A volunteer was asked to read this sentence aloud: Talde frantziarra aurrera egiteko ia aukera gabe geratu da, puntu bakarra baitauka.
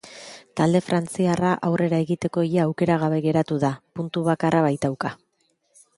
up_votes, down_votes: 2, 0